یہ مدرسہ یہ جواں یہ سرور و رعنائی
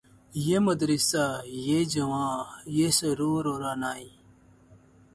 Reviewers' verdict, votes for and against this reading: accepted, 16, 0